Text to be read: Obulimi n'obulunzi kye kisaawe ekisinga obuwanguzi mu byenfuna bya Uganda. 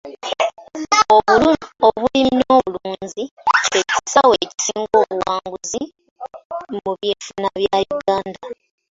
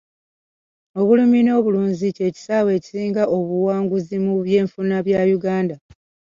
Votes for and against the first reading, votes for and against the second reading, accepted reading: 1, 2, 2, 1, second